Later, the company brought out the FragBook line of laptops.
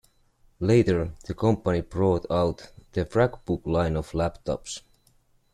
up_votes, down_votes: 0, 2